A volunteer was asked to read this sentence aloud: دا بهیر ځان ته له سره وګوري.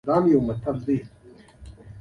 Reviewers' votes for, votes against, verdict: 1, 2, rejected